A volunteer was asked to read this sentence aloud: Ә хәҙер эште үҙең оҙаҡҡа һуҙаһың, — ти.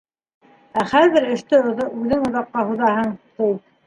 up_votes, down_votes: 1, 2